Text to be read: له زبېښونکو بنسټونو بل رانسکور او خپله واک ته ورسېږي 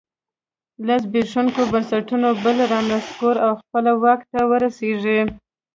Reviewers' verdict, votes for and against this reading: rejected, 1, 2